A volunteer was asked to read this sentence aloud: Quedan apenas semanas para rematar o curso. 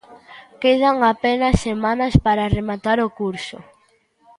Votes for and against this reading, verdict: 2, 0, accepted